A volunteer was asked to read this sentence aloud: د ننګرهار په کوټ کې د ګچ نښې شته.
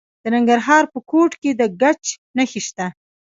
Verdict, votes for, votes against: rejected, 1, 2